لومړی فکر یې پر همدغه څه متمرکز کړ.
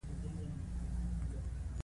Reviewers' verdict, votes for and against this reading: rejected, 0, 2